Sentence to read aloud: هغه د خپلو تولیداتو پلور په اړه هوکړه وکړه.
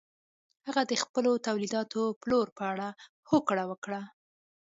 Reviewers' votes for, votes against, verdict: 2, 0, accepted